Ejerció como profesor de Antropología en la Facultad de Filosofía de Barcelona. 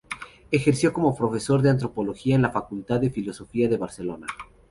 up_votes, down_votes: 2, 0